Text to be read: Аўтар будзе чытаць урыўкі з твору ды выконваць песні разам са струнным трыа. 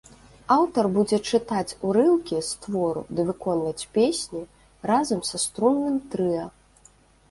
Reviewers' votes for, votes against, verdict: 2, 0, accepted